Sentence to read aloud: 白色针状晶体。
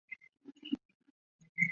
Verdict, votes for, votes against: rejected, 3, 4